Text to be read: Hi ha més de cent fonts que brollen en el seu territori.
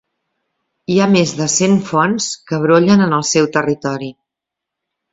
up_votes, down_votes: 2, 0